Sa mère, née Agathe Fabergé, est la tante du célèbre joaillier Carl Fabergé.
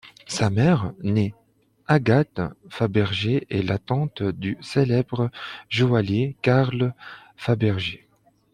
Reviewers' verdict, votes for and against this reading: accepted, 2, 0